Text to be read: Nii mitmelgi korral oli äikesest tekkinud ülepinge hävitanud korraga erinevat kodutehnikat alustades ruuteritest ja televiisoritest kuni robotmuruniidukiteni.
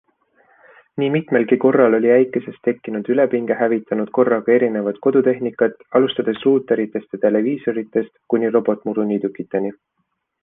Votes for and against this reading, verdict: 2, 0, accepted